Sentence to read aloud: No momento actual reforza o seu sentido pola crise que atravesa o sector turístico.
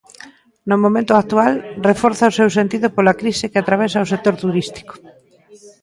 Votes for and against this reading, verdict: 1, 2, rejected